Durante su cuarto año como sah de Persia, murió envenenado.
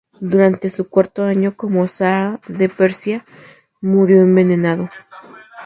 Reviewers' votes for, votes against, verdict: 0, 2, rejected